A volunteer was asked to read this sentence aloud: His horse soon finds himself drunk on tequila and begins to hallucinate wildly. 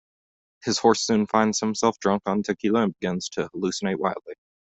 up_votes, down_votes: 2, 0